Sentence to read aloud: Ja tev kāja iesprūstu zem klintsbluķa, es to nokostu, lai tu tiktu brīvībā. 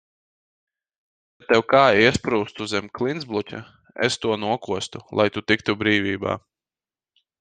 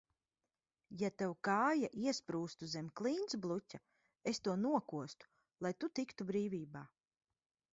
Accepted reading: second